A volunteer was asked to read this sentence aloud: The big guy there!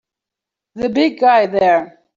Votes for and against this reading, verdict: 3, 0, accepted